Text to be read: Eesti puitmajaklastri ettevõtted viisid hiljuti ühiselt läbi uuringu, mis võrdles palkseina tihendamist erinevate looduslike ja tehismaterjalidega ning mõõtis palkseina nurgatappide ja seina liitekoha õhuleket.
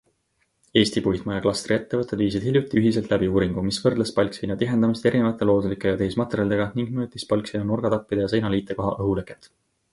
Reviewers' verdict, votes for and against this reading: accepted, 2, 0